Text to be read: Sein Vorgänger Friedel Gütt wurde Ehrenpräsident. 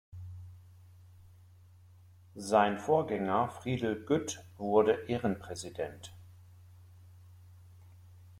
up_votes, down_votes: 2, 0